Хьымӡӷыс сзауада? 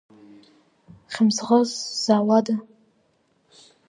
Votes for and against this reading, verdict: 2, 0, accepted